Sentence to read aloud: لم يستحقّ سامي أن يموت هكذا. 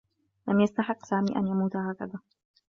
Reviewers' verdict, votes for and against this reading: accepted, 2, 0